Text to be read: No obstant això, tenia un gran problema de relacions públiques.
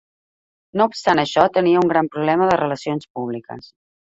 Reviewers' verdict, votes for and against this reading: accepted, 3, 0